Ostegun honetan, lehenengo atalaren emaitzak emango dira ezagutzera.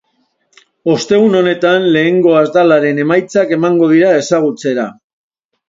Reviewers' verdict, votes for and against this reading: accepted, 2, 0